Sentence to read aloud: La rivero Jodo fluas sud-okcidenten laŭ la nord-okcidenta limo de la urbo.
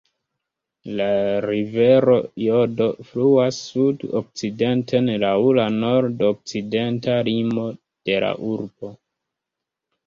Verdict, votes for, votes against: rejected, 0, 2